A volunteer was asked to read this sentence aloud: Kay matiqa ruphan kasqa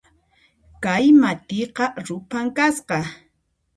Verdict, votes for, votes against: accepted, 2, 0